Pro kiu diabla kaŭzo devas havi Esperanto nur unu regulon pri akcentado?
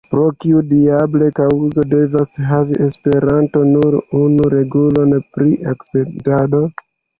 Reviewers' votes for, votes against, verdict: 2, 1, accepted